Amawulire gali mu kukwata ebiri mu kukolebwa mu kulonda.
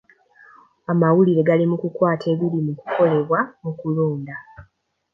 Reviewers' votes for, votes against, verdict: 2, 0, accepted